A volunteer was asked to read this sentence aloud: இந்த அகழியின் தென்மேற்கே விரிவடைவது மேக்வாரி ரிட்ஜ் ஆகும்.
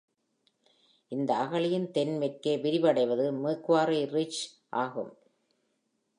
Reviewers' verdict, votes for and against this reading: accepted, 2, 0